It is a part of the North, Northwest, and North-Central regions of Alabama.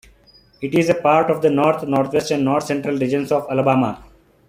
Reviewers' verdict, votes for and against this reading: accepted, 2, 0